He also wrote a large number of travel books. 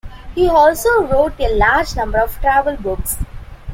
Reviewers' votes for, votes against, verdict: 2, 0, accepted